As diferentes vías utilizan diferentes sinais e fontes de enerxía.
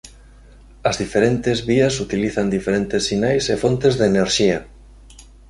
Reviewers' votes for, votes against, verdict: 2, 0, accepted